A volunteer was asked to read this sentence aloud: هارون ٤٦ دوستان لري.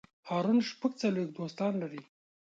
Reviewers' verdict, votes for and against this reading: rejected, 0, 2